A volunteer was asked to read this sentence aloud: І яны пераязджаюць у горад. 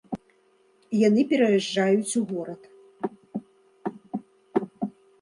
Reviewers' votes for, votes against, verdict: 2, 0, accepted